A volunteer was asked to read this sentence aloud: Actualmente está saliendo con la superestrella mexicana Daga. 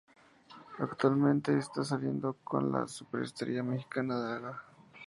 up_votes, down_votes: 0, 2